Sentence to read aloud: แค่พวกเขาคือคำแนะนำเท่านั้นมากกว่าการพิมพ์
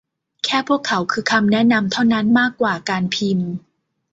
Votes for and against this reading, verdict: 2, 0, accepted